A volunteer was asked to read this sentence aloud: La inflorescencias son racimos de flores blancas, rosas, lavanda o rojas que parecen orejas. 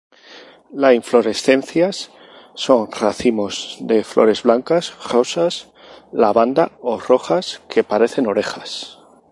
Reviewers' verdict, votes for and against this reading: rejected, 2, 2